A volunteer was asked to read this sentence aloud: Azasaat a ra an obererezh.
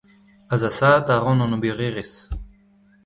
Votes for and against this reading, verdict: 1, 2, rejected